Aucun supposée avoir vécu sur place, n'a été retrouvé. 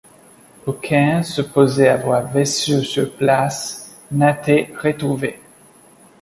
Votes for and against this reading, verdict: 1, 2, rejected